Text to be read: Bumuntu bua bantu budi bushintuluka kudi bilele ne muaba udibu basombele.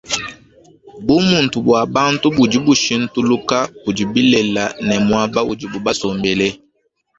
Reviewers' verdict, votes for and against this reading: rejected, 1, 2